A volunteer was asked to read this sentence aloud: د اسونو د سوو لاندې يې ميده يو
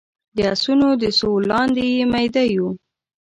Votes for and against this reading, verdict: 1, 2, rejected